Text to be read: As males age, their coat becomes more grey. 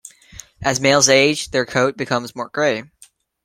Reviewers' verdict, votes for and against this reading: accepted, 2, 0